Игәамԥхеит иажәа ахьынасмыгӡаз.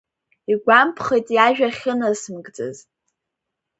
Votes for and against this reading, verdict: 2, 0, accepted